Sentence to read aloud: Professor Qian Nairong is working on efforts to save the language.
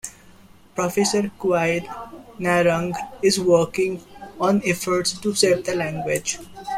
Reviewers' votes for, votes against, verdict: 2, 0, accepted